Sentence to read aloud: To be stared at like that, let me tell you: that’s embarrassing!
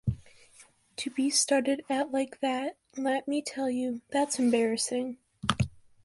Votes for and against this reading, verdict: 1, 2, rejected